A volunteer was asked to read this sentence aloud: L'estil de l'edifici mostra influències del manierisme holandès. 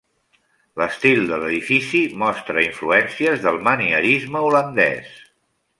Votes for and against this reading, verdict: 3, 0, accepted